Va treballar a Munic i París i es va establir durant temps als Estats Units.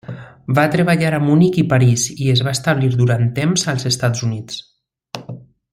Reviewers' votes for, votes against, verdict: 3, 0, accepted